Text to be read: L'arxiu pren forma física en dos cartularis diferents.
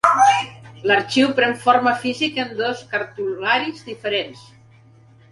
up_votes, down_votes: 1, 2